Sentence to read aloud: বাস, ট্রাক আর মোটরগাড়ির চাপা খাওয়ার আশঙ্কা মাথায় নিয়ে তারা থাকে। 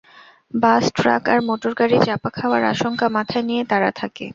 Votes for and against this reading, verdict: 0, 2, rejected